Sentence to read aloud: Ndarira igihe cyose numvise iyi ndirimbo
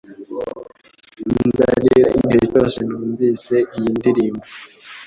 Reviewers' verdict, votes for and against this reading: accepted, 2, 0